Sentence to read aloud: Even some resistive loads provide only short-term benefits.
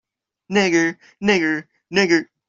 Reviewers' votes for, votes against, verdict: 0, 2, rejected